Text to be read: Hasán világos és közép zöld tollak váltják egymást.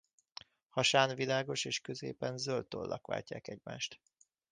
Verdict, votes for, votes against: rejected, 1, 2